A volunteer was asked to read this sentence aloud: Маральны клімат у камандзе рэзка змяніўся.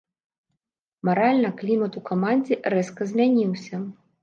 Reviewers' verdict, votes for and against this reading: rejected, 1, 2